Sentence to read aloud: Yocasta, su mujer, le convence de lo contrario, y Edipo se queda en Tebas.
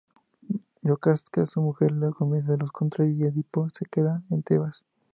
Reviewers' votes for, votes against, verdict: 0, 2, rejected